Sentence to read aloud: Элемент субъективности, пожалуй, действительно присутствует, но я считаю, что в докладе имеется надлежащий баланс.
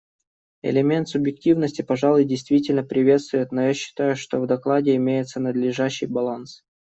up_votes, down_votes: 0, 2